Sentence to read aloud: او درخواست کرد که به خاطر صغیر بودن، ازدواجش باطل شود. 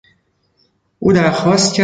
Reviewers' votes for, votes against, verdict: 0, 2, rejected